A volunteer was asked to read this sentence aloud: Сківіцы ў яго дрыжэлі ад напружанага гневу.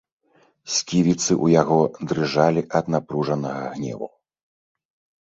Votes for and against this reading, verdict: 1, 3, rejected